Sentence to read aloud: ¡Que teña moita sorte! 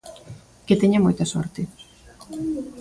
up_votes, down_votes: 2, 0